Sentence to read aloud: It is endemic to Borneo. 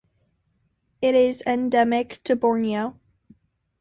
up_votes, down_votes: 2, 0